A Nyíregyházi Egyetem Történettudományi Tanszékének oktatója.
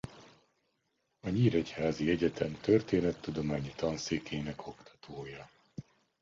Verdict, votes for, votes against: accepted, 2, 0